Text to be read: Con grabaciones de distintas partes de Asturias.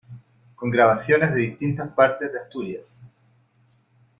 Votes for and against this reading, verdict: 2, 0, accepted